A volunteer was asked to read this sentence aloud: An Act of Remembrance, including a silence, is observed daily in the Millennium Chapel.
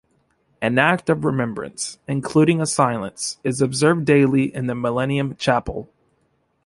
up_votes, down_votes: 2, 0